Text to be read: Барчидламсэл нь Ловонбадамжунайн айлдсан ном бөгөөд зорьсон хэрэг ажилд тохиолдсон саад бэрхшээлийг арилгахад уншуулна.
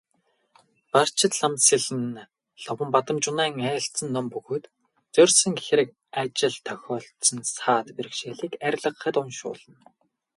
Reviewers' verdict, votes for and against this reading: rejected, 2, 2